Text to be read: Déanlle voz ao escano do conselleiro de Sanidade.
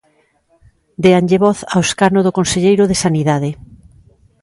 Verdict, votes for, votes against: accepted, 2, 0